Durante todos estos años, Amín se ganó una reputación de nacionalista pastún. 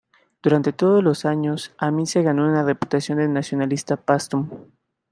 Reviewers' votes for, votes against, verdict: 0, 2, rejected